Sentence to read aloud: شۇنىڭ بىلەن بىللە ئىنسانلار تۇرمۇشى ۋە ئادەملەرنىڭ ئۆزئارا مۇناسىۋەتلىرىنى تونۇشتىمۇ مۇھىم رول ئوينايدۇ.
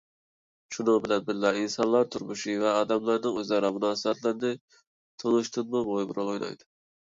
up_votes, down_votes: 0, 2